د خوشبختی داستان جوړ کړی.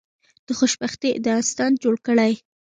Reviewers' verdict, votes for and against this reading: rejected, 0, 2